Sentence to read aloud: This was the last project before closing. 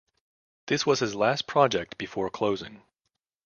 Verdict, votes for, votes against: rejected, 0, 2